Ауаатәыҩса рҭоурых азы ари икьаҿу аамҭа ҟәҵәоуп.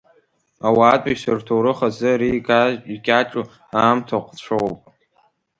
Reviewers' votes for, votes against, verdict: 2, 1, accepted